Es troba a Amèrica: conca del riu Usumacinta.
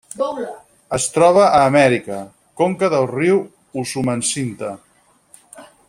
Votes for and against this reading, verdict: 0, 4, rejected